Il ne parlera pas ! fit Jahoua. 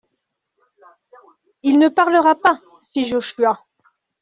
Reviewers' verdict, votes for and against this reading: rejected, 1, 2